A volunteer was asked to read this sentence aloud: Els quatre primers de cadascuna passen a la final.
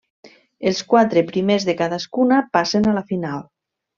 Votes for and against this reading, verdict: 3, 1, accepted